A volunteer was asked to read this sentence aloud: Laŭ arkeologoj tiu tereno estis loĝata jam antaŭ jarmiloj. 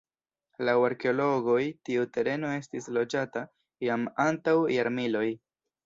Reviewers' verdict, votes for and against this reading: rejected, 0, 2